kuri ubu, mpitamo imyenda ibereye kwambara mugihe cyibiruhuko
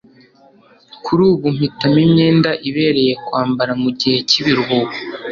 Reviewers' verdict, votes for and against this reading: accepted, 2, 0